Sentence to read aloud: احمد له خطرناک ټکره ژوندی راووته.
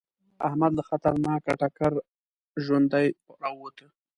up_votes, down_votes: 2, 0